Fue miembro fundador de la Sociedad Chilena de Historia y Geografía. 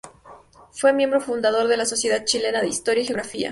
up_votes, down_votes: 2, 0